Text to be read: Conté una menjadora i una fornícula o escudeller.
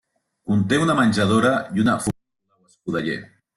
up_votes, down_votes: 0, 2